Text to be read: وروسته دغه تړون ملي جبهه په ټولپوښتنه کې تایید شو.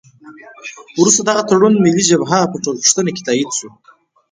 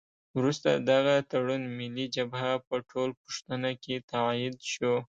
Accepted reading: second